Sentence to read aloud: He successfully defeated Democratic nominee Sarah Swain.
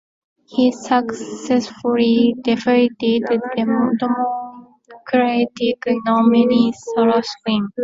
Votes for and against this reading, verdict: 1, 2, rejected